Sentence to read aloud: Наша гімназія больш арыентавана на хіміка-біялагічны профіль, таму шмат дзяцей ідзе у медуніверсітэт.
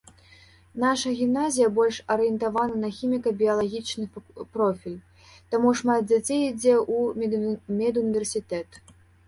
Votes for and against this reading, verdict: 0, 2, rejected